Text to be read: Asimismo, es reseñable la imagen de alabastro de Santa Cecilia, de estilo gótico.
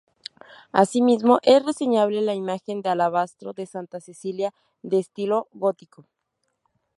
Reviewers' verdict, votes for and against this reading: rejected, 0, 2